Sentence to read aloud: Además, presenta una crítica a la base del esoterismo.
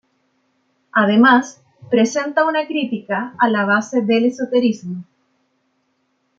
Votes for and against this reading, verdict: 2, 0, accepted